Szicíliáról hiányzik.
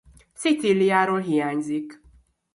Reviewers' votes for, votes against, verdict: 2, 0, accepted